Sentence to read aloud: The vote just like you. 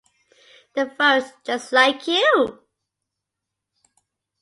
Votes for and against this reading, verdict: 2, 1, accepted